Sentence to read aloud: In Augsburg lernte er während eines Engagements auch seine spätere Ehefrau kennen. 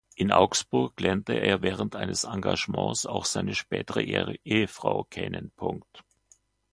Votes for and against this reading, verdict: 0, 2, rejected